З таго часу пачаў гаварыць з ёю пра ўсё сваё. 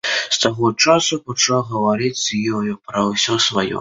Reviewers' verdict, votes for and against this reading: accepted, 2, 0